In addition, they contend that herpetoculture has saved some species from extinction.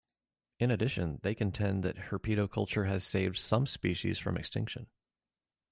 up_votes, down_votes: 2, 0